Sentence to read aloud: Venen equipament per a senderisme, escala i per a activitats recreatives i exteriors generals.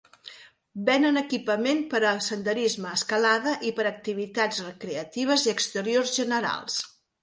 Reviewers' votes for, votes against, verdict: 1, 2, rejected